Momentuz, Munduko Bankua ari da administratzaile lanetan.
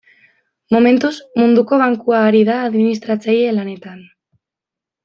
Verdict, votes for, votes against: accepted, 2, 0